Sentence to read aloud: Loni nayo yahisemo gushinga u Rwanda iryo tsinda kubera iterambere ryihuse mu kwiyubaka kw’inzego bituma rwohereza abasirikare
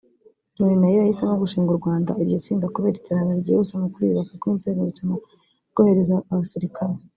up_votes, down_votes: 0, 2